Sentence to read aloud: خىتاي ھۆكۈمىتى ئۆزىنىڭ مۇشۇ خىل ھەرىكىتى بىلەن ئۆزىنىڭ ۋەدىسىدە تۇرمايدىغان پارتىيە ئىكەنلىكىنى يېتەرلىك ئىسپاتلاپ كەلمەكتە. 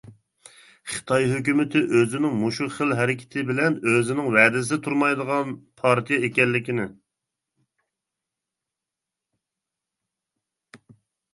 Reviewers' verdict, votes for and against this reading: rejected, 0, 2